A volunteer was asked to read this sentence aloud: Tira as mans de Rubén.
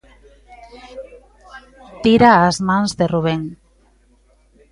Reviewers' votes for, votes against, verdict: 1, 2, rejected